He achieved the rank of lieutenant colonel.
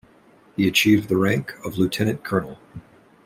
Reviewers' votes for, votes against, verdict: 2, 0, accepted